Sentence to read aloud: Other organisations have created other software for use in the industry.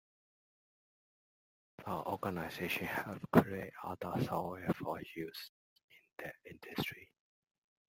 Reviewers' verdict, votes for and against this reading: rejected, 0, 2